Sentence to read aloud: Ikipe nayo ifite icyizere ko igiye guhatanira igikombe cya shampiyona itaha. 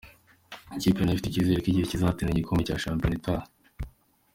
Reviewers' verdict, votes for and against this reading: accepted, 2, 0